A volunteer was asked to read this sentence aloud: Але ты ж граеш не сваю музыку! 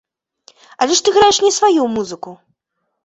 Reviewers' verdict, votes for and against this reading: rejected, 1, 2